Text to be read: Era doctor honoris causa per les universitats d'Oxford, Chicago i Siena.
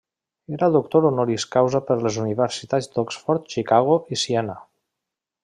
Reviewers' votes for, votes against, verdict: 3, 0, accepted